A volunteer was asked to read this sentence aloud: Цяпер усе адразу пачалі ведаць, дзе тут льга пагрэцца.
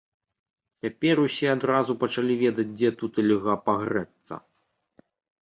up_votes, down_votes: 2, 0